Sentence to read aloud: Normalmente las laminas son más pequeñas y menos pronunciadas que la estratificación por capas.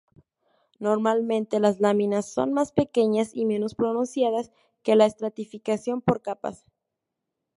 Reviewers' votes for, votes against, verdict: 2, 0, accepted